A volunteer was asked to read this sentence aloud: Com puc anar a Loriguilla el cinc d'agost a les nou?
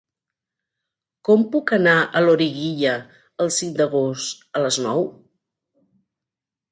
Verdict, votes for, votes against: accepted, 3, 1